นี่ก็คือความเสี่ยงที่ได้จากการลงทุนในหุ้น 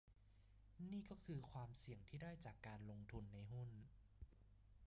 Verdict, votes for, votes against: rejected, 1, 2